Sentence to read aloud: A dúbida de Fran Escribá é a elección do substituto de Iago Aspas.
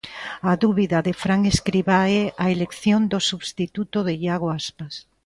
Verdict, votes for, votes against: accepted, 2, 0